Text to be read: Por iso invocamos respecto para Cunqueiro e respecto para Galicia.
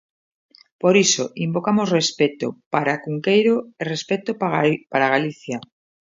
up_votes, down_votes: 0, 2